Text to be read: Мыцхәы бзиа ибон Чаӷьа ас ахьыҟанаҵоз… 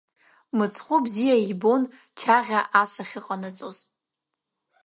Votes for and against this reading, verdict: 1, 2, rejected